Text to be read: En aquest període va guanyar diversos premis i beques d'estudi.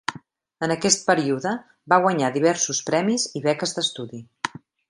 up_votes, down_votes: 1, 2